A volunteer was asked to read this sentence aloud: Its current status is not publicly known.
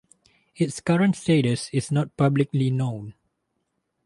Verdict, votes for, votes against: accepted, 4, 0